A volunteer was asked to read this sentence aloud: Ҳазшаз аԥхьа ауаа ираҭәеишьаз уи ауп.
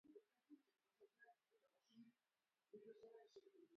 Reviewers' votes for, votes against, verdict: 0, 2, rejected